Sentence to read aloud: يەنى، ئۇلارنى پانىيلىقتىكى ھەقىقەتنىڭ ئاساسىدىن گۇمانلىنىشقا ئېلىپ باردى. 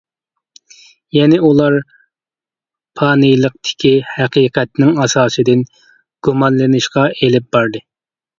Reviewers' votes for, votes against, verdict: 0, 2, rejected